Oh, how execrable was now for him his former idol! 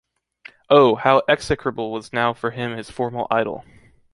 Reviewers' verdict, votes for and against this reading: accepted, 2, 0